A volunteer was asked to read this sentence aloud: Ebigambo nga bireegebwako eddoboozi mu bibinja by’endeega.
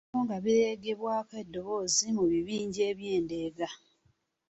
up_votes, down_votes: 0, 2